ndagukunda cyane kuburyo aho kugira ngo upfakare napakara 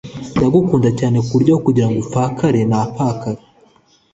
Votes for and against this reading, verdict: 3, 0, accepted